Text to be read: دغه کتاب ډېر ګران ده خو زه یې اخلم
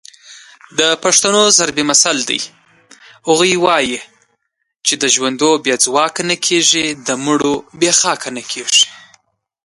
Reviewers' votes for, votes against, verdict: 1, 2, rejected